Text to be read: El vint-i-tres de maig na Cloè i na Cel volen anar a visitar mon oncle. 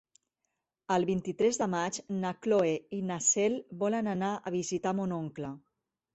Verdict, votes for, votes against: rejected, 0, 4